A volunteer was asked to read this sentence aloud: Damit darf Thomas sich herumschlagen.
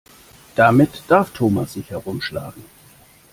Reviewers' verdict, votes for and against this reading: accepted, 2, 0